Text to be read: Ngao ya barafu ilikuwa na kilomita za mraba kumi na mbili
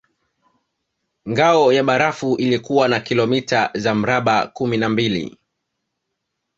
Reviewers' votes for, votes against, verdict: 2, 0, accepted